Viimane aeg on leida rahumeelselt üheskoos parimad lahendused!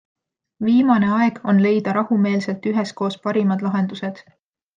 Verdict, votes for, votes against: accepted, 2, 0